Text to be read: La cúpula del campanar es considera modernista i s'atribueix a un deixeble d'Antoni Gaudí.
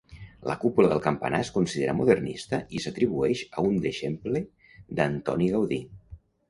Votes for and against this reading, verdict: 1, 2, rejected